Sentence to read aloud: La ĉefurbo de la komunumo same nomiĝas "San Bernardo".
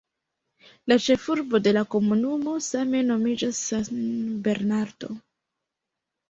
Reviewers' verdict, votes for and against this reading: rejected, 1, 2